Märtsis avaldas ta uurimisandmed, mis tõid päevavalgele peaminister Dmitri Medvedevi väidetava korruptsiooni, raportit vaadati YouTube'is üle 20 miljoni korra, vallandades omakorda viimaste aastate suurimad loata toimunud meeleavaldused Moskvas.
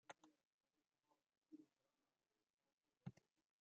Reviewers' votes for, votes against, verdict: 0, 2, rejected